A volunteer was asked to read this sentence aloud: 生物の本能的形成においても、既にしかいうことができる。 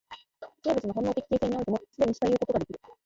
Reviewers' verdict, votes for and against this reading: rejected, 1, 2